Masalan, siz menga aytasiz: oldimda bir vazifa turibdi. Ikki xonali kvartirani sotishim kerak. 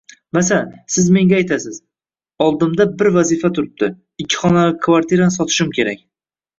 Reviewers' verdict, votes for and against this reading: rejected, 1, 2